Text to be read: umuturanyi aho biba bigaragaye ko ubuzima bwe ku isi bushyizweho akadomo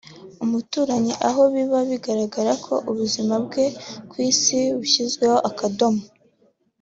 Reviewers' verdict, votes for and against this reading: accepted, 2, 0